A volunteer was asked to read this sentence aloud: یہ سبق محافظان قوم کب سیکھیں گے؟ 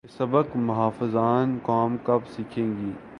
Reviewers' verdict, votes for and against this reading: accepted, 2, 1